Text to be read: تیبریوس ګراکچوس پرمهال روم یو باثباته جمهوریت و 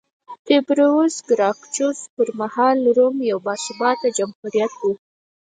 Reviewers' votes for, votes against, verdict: 2, 4, rejected